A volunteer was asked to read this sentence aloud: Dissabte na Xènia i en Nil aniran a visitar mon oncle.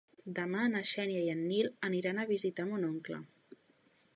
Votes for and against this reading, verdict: 0, 3, rejected